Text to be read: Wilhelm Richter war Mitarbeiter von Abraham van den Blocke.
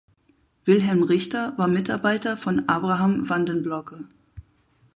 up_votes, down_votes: 4, 2